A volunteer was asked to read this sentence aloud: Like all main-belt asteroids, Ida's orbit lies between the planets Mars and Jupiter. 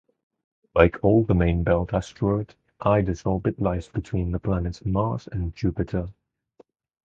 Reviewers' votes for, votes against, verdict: 2, 2, rejected